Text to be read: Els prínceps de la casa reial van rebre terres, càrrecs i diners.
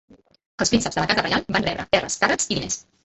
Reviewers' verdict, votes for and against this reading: rejected, 0, 2